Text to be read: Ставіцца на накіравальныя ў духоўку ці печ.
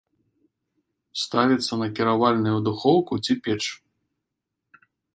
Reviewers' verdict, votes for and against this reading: rejected, 0, 2